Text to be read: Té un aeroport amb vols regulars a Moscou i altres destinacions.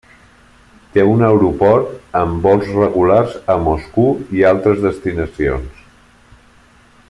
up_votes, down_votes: 1, 2